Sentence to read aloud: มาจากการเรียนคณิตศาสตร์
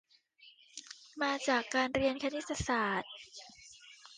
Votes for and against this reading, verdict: 1, 2, rejected